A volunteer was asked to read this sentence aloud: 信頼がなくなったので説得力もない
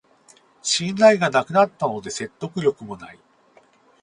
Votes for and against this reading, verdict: 0, 2, rejected